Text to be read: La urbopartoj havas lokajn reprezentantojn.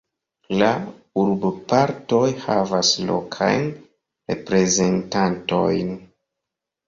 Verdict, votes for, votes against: accepted, 2, 1